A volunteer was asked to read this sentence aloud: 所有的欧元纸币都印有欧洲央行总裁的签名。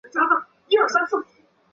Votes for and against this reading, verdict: 0, 2, rejected